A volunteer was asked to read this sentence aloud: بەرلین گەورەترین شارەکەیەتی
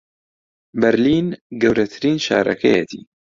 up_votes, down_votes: 2, 0